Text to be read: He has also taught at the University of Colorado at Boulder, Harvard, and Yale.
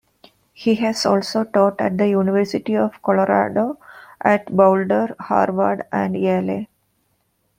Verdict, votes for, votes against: rejected, 0, 2